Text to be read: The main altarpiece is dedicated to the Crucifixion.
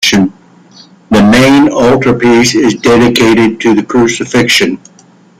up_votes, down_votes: 1, 2